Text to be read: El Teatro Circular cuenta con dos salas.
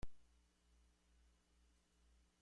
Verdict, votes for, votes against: rejected, 0, 2